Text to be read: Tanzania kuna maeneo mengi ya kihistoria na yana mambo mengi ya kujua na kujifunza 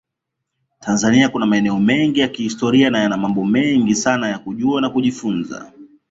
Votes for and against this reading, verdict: 0, 2, rejected